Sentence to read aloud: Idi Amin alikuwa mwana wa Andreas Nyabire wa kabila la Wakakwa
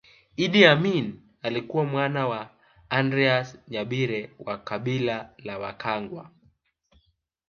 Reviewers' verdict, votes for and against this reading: rejected, 0, 3